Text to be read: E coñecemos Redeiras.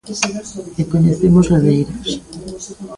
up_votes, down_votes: 0, 2